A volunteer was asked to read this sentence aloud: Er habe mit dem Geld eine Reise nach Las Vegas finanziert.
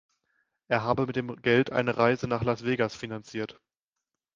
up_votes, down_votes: 2, 0